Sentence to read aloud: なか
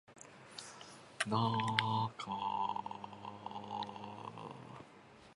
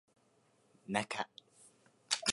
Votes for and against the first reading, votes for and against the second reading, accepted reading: 0, 2, 2, 0, second